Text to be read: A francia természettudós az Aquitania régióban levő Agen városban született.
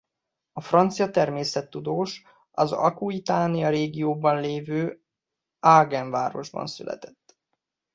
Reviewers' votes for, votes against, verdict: 1, 2, rejected